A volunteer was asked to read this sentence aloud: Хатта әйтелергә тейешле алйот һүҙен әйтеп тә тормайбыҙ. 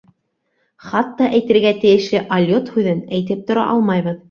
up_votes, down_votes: 2, 1